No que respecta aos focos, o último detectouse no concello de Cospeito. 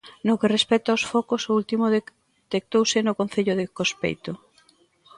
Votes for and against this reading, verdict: 1, 2, rejected